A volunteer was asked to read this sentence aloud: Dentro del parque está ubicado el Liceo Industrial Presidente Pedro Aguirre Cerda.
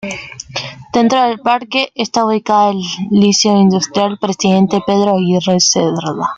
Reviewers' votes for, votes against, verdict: 2, 1, accepted